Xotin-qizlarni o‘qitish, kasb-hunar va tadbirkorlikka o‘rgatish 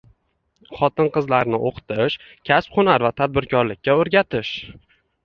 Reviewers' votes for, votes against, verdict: 2, 1, accepted